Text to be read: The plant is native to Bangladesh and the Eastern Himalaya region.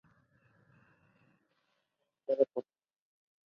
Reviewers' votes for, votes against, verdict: 0, 2, rejected